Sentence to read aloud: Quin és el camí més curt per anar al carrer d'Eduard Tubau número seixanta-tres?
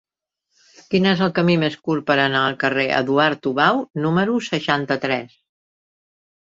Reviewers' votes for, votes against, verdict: 1, 2, rejected